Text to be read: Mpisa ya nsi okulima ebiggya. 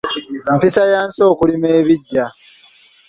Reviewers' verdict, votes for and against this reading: accepted, 2, 0